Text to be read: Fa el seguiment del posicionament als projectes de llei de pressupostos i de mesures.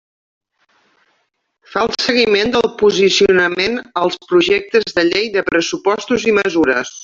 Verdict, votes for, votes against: rejected, 1, 2